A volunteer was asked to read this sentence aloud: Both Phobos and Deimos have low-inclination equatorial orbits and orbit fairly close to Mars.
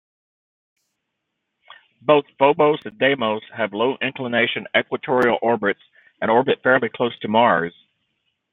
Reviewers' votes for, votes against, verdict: 1, 2, rejected